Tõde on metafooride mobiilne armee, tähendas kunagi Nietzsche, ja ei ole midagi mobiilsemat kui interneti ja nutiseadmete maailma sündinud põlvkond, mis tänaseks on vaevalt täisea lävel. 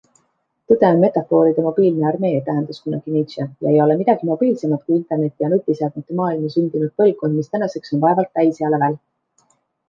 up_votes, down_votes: 2, 1